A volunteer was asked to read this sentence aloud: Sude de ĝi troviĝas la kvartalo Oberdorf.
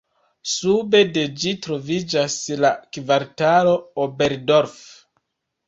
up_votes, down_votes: 1, 2